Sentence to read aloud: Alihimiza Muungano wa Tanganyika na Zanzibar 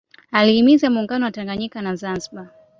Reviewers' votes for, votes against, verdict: 2, 0, accepted